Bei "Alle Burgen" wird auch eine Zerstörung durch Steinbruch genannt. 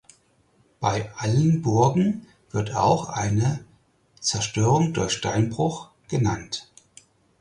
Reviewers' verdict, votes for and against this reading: accepted, 4, 0